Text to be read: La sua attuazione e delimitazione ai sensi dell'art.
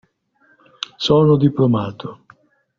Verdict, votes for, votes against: rejected, 0, 2